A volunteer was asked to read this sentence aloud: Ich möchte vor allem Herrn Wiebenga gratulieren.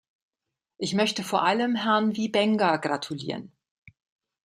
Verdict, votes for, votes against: accepted, 2, 0